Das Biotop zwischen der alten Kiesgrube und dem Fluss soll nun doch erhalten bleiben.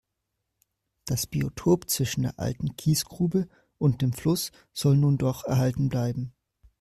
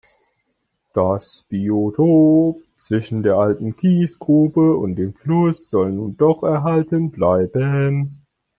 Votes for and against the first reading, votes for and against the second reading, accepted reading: 2, 0, 2, 3, first